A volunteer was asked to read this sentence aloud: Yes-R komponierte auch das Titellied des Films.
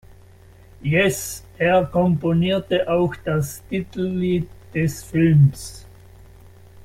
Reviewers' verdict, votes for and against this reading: rejected, 0, 2